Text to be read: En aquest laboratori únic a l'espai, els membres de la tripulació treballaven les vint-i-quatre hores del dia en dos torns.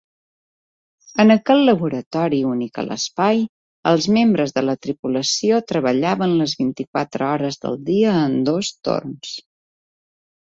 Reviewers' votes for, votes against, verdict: 3, 0, accepted